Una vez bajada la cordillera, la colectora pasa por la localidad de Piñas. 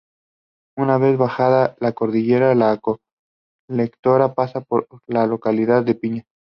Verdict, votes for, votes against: accepted, 2, 0